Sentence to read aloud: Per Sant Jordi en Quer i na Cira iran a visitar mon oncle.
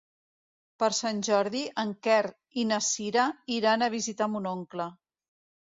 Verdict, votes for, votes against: accepted, 2, 0